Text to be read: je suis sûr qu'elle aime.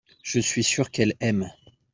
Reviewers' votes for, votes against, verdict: 2, 0, accepted